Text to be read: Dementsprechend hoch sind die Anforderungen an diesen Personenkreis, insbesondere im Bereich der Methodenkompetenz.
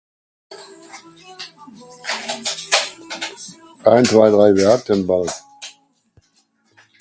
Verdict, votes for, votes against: rejected, 0, 2